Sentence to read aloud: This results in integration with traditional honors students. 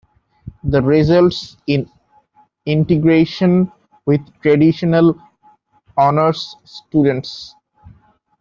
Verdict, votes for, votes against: rejected, 0, 2